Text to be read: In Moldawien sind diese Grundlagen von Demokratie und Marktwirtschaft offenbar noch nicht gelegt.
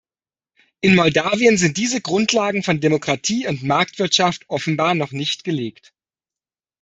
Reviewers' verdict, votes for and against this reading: accepted, 2, 0